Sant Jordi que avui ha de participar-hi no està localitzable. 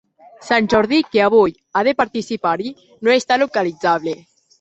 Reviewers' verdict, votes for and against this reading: accepted, 2, 0